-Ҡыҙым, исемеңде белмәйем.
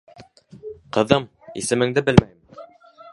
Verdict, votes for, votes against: rejected, 0, 3